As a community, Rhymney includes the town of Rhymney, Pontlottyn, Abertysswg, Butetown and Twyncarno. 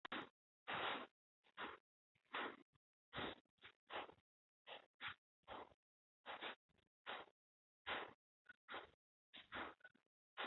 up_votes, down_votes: 0, 2